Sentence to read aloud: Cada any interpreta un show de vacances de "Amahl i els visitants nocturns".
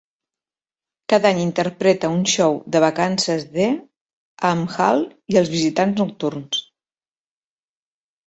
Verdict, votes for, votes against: rejected, 0, 2